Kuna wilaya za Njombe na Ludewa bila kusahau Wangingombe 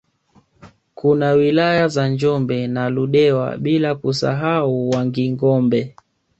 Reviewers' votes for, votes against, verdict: 2, 0, accepted